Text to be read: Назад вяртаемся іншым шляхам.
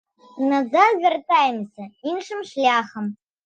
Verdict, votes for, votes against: accepted, 2, 0